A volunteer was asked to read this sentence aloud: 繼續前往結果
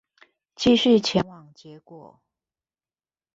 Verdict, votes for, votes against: rejected, 1, 2